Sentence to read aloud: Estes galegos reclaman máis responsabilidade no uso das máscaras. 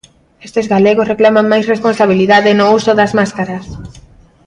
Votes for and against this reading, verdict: 2, 0, accepted